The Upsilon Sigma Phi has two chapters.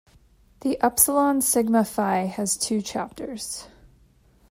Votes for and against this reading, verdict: 2, 0, accepted